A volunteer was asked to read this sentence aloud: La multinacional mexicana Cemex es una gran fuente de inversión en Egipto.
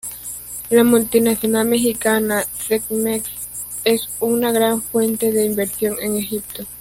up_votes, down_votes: 1, 2